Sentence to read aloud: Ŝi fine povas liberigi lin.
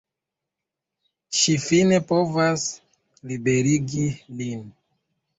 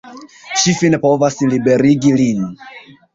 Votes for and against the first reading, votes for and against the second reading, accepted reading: 0, 2, 2, 0, second